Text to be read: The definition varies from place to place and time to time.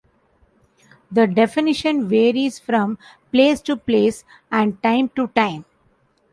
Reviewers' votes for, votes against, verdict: 2, 0, accepted